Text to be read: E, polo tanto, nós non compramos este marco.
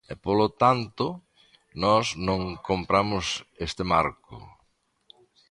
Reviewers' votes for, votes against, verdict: 2, 0, accepted